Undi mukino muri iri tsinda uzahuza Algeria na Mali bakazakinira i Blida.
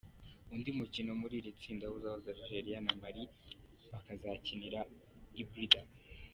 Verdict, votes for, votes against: accepted, 2, 0